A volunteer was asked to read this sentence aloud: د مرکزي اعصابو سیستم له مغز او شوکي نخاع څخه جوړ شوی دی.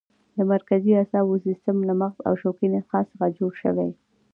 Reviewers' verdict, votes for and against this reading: accepted, 2, 0